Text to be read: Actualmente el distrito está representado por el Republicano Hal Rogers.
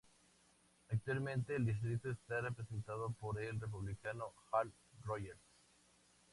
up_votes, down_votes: 4, 2